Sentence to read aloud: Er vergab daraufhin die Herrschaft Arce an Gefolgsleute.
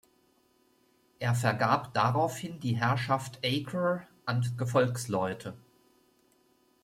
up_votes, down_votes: 0, 2